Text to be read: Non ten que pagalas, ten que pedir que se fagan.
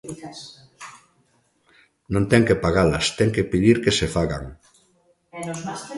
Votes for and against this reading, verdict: 0, 2, rejected